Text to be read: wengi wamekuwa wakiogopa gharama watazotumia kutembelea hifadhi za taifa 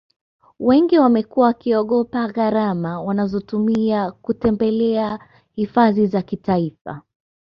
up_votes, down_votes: 2, 0